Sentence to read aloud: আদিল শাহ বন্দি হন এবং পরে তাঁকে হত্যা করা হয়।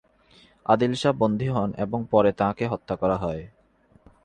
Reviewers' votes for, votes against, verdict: 5, 1, accepted